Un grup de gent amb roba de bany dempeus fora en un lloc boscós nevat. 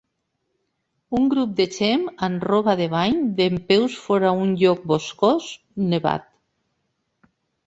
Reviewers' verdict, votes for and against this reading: rejected, 1, 2